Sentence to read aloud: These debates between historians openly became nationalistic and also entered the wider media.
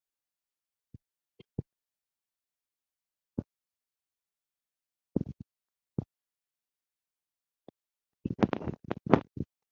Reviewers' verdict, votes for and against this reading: rejected, 0, 6